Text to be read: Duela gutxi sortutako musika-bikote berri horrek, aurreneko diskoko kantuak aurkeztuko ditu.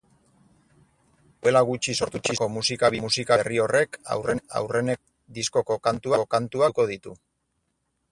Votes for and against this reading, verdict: 0, 4, rejected